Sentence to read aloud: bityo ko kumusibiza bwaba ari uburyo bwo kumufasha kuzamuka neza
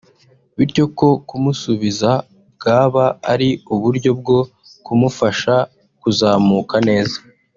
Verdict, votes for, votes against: rejected, 0, 2